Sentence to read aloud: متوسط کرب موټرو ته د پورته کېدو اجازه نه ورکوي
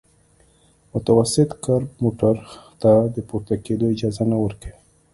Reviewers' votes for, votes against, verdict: 2, 0, accepted